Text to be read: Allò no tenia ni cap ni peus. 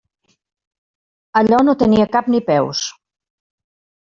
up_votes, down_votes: 1, 3